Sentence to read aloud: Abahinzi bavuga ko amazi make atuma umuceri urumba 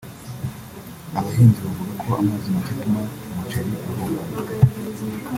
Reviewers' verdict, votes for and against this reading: rejected, 1, 2